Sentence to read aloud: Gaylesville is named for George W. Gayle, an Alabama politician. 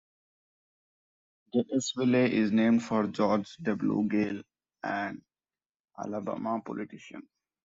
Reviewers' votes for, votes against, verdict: 1, 2, rejected